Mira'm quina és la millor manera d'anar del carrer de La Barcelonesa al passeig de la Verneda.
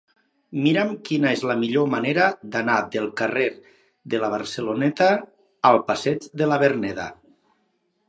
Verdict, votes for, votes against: rejected, 2, 6